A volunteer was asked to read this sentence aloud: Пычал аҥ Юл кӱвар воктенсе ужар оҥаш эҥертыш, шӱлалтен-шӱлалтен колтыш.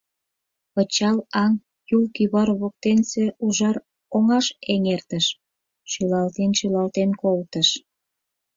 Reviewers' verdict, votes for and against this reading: accepted, 4, 0